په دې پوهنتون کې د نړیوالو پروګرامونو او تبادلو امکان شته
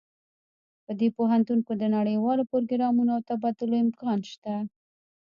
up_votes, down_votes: 1, 2